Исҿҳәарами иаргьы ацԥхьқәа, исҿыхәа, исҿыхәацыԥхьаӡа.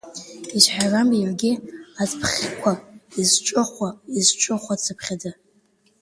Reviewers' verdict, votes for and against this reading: rejected, 0, 2